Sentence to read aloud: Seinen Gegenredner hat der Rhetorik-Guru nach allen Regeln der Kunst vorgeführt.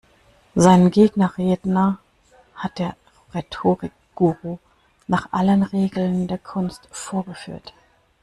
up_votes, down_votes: 0, 2